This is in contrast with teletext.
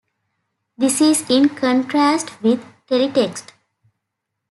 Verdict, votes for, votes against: accepted, 3, 1